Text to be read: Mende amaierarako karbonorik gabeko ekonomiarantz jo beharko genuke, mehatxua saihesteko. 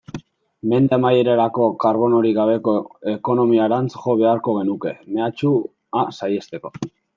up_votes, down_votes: 0, 2